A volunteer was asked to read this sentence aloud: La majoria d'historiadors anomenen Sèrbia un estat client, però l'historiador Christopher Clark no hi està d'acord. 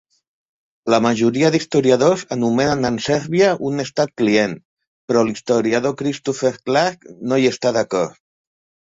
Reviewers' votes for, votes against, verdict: 0, 2, rejected